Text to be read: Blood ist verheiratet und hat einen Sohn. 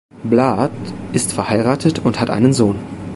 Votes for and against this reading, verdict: 2, 0, accepted